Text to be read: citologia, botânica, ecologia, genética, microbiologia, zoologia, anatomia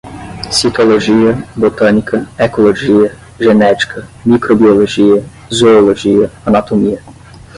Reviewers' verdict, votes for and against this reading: rejected, 5, 5